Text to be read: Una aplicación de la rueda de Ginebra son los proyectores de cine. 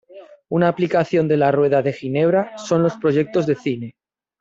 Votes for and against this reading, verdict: 0, 2, rejected